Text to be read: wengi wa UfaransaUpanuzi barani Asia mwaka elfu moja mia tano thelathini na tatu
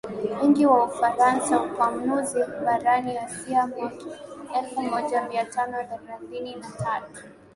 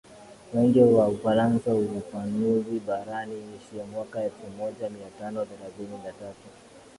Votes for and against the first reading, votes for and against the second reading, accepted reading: 1, 2, 3, 1, second